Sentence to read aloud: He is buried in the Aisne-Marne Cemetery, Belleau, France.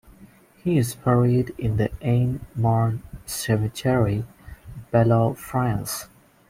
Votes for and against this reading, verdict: 1, 2, rejected